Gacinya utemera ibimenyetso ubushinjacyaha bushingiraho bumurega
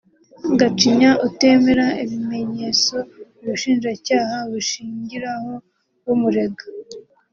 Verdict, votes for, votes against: accepted, 2, 0